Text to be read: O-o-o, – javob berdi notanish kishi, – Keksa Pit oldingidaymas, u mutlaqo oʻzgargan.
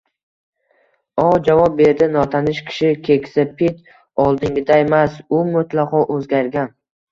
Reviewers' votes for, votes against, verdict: 1, 2, rejected